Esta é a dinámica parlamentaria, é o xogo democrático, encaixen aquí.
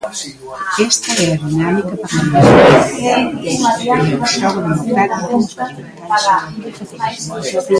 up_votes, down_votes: 0, 2